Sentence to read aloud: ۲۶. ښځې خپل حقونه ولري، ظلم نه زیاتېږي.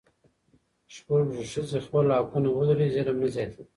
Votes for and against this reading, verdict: 0, 2, rejected